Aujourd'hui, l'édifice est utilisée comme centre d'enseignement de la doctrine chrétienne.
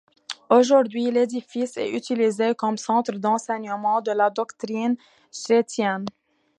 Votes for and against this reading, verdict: 1, 2, rejected